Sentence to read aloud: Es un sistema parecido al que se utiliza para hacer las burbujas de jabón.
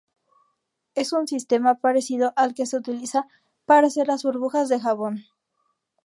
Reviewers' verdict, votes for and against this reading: accepted, 2, 0